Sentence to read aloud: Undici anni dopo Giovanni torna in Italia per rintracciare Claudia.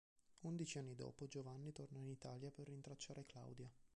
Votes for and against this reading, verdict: 1, 2, rejected